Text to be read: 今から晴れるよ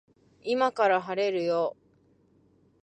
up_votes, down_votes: 2, 0